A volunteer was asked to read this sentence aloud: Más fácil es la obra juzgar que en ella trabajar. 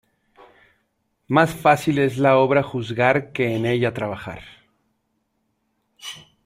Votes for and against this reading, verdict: 1, 2, rejected